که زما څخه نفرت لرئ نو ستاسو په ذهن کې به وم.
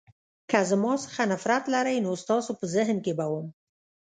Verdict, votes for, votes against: accepted, 2, 0